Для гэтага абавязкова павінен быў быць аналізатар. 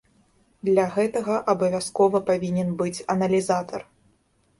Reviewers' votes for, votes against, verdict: 1, 2, rejected